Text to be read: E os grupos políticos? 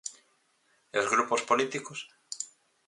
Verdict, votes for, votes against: accepted, 4, 0